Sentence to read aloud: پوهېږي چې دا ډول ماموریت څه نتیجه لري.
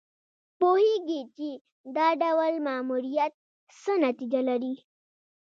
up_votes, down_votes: 1, 2